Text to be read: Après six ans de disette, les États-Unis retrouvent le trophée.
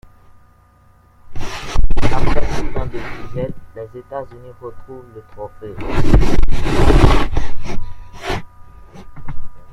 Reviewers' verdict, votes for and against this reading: rejected, 1, 2